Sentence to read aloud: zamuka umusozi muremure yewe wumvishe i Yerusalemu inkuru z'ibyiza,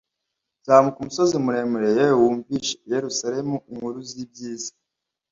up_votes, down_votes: 2, 1